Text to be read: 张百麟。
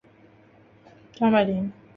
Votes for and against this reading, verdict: 2, 0, accepted